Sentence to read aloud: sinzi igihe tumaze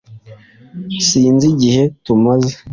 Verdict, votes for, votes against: accepted, 2, 0